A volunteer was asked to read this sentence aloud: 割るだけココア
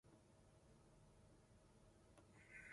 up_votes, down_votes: 0, 2